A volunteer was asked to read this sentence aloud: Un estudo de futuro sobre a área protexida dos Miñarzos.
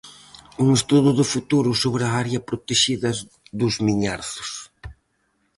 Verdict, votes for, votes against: rejected, 2, 2